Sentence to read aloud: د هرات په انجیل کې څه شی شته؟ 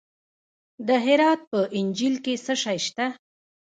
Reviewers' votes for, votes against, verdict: 0, 2, rejected